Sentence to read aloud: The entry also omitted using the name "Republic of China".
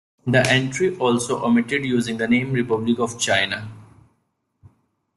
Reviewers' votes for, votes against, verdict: 2, 0, accepted